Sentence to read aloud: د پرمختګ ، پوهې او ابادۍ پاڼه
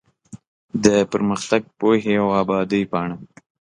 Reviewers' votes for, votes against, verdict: 2, 0, accepted